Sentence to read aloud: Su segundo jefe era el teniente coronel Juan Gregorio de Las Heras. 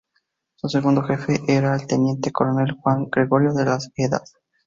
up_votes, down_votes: 4, 0